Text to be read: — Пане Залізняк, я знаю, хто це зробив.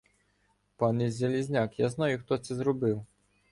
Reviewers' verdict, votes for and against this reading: accepted, 2, 0